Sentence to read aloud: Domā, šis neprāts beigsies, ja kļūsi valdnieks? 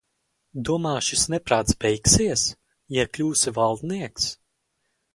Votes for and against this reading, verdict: 0, 2, rejected